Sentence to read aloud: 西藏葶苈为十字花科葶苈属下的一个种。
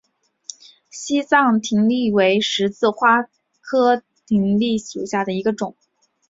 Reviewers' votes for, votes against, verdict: 2, 0, accepted